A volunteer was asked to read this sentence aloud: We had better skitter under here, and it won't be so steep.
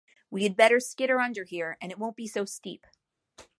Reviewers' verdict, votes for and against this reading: accepted, 2, 0